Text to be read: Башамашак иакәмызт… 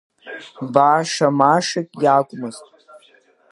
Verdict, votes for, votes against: rejected, 0, 2